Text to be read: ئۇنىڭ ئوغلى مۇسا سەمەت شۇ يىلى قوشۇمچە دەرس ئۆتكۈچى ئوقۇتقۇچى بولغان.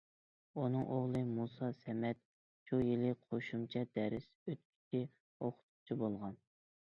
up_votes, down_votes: 0, 2